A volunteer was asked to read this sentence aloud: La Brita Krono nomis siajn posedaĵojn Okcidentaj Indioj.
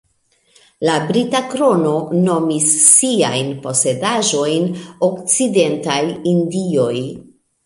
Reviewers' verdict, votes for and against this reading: accepted, 2, 1